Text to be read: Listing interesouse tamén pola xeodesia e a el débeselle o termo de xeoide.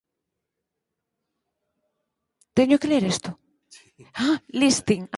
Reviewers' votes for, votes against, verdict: 0, 4, rejected